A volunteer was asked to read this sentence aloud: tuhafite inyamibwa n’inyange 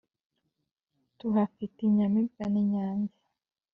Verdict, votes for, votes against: accepted, 2, 0